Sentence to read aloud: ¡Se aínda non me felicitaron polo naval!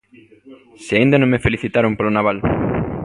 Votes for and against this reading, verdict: 2, 0, accepted